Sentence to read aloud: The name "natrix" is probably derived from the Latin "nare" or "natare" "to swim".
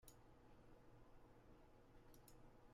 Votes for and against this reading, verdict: 0, 2, rejected